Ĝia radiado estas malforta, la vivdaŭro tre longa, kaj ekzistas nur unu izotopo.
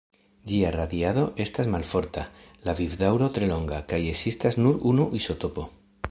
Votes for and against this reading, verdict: 2, 0, accepted